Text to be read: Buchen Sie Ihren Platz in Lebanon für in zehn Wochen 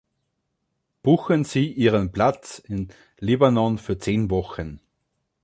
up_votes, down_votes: 1, 2